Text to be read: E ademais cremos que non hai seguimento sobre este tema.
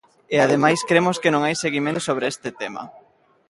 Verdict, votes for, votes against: accepted, 3, 0